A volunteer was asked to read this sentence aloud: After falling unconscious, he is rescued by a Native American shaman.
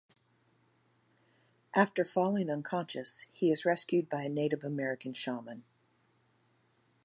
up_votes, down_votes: 2, 0